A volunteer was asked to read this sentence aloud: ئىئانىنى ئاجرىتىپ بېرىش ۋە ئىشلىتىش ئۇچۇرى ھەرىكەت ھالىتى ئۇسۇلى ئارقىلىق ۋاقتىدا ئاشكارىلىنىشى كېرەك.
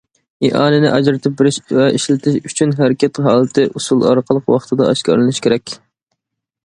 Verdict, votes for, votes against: rejected, 0, 2